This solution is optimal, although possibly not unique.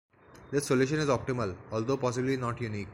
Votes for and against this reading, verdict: 2, 0, accepted